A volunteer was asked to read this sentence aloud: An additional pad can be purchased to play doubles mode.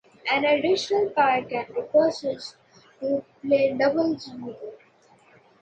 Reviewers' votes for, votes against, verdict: 1, 2, rejected